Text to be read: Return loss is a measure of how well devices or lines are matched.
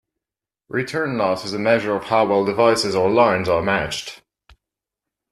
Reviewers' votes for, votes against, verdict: 2, 0, accepted